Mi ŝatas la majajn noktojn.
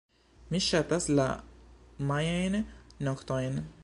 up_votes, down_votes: 1, 2